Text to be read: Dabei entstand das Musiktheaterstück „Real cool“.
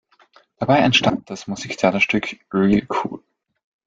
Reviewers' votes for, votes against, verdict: 1, 2, rejected